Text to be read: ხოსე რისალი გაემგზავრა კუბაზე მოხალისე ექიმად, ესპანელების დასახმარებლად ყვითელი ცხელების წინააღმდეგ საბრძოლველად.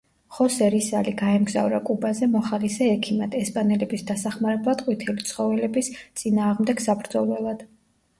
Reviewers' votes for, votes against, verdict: 1, 2, rejected